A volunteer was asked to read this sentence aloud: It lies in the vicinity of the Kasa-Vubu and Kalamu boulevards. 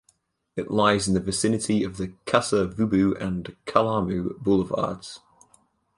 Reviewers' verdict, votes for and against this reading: accepted, 4, 0